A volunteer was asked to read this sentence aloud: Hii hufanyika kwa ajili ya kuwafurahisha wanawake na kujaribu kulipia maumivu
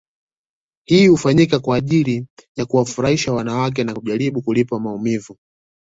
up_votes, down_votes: 2, 0